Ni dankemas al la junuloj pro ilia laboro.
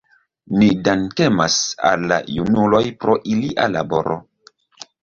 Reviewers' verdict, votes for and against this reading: accepted, 2, 0